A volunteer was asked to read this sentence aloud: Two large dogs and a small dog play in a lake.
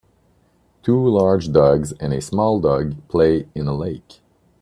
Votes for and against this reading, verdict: 2, 0, accepted